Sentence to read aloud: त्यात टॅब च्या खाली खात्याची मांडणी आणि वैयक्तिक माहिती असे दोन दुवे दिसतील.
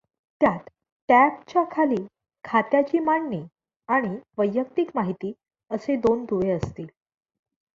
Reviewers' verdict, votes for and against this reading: rejected, 1, 2